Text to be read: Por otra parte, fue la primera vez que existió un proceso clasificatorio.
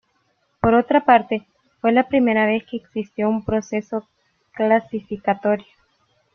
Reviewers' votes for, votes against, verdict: 2, 0, accepted